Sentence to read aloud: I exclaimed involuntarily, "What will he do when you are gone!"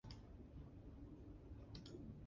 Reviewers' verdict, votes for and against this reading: rejected, 0, 2